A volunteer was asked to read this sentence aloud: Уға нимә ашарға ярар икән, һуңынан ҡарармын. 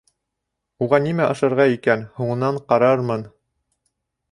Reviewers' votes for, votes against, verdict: 1, 2, rejected